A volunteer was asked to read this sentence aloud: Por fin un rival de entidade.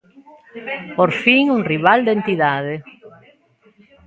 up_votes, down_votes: 1, 2